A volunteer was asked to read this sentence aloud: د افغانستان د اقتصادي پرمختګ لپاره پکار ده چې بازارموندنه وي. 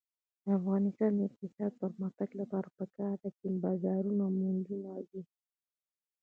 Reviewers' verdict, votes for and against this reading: rejected, 0, 2